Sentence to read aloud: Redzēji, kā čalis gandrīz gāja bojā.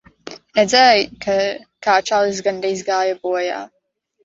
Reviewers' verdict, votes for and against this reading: rejected, 0, 2